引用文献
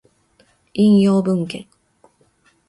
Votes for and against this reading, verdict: 2, 0, accepted